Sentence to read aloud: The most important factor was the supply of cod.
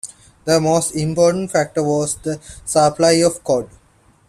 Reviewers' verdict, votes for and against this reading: accepted, 2, 0